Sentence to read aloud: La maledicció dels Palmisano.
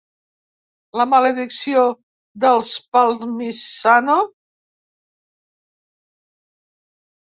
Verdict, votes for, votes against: rejected, 1, 2